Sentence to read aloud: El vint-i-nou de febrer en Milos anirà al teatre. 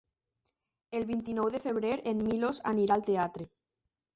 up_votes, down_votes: 1, 2